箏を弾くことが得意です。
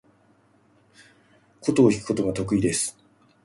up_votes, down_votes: 2, 1